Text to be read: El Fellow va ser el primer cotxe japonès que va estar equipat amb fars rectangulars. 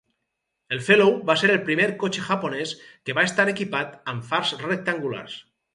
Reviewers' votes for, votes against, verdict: 2, 4, rejected